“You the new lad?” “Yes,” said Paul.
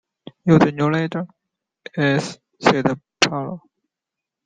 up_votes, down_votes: 1, 2